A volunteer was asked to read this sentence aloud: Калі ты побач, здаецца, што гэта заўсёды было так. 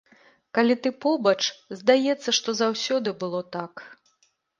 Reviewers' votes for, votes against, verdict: 2, 0, accepted